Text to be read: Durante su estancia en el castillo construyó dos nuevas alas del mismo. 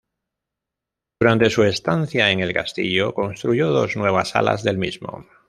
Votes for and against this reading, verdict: 0, 2, rejected